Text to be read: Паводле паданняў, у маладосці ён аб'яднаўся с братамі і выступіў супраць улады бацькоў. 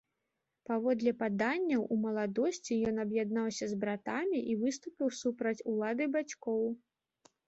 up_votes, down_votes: 2, 0